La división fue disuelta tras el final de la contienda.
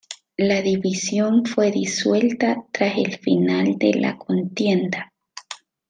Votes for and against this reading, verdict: 2, 1, accepted